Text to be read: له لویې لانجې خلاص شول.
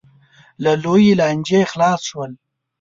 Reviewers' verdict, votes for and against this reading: accepted, 2, 0